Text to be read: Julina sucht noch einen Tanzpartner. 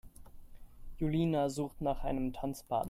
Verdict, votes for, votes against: rejected, 0, 2